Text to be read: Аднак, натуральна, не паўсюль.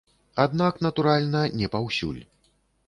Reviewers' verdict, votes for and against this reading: accepted, 2, 0